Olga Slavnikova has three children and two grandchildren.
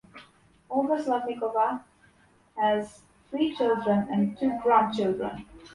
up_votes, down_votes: 2, 0